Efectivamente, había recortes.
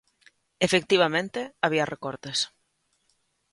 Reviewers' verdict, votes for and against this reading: accepted, 2, 0